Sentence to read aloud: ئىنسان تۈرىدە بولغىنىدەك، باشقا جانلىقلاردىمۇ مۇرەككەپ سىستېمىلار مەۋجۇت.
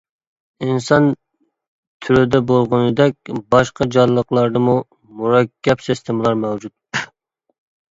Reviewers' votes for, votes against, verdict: 2, 0, accepted